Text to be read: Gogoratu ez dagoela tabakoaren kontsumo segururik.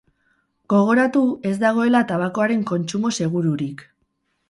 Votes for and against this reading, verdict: 4, 0, accepted